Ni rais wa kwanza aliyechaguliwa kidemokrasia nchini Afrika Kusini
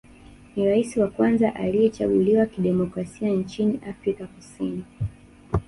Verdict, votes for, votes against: rejected, 1, 2